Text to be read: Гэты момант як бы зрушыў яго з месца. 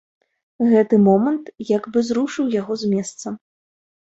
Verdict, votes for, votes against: accepted, 2, 0